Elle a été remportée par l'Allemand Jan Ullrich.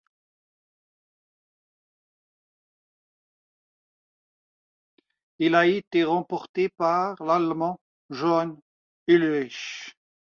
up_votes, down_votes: 2, 1